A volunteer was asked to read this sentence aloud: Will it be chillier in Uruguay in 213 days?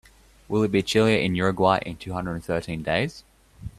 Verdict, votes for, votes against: rejected, 0, 2